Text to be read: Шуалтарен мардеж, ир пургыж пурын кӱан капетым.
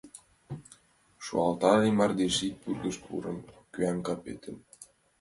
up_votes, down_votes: 0, 2